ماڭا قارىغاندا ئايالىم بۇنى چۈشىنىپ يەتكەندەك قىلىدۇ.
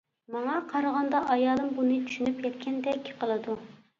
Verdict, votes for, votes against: accepted, 2, 0